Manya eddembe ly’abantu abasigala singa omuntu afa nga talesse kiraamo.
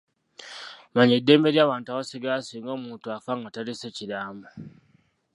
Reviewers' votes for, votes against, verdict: 1, 2, rejected